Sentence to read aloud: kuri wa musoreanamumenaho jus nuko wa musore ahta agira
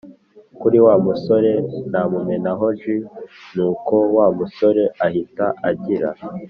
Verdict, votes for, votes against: accepted, 2, 0